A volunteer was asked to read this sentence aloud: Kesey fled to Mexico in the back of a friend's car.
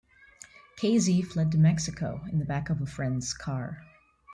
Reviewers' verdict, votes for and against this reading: accepted, 2, 1